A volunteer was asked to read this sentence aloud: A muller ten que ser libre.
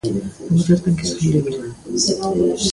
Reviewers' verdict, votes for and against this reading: rejected, 0, 2